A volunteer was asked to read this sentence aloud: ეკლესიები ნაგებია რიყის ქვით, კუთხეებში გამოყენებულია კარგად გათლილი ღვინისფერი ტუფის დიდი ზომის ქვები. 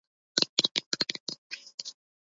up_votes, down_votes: 0, 2